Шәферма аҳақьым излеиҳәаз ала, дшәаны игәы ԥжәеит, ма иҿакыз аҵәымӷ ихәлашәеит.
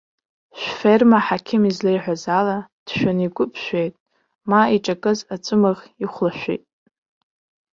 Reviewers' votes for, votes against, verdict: 1, 2, rejected